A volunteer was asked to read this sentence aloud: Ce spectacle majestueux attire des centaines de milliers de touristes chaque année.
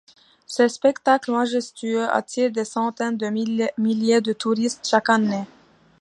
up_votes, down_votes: 0, 2